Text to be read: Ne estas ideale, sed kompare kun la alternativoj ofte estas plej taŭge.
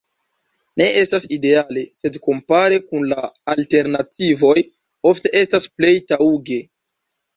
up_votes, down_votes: 1, 2